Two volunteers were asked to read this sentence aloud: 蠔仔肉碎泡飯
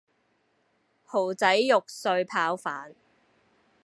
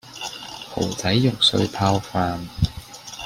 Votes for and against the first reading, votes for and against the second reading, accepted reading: 1, 2, 2, 0, second